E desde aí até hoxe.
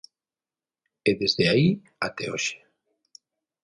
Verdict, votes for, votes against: accepted, 6, 0